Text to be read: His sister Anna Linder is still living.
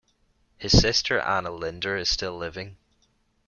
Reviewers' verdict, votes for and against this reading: accepted, 2, 0